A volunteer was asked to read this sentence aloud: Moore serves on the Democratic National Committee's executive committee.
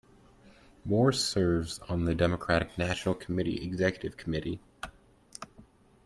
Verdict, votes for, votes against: rejected, 1, 2